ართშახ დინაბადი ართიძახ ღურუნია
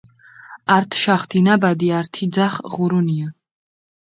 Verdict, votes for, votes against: rejected, 2, 4